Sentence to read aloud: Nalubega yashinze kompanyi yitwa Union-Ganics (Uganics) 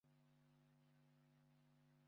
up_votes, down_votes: 0, 2